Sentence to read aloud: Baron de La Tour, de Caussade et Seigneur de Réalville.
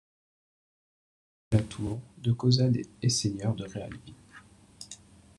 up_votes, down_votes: 0, 2